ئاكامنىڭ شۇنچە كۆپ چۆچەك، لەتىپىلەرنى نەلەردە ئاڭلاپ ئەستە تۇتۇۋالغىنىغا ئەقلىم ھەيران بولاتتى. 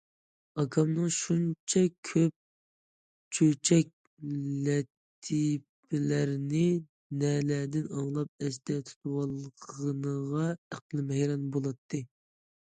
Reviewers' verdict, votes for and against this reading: rejected, 1, 2